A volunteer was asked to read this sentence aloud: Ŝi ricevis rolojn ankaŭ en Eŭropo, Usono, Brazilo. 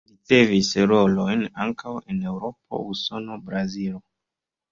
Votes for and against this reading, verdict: 1, 2, rejected